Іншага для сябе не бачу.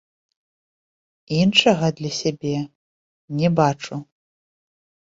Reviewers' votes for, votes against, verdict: 2, 1, accepted